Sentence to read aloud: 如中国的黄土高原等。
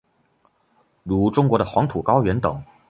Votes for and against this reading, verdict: 2, 0, accepted